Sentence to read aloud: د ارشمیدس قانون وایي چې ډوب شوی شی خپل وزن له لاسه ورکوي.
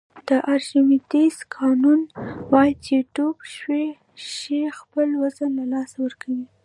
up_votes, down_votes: 2, 0